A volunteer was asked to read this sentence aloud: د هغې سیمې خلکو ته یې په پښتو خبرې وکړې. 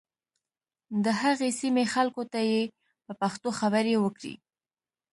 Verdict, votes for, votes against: accepted, 2, 0